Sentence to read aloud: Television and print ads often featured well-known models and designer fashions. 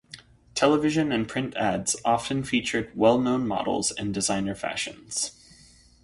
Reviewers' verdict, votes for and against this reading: accepted, 2, 0